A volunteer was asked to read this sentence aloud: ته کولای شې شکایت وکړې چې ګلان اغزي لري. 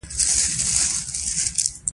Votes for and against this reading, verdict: 2, 0, accepted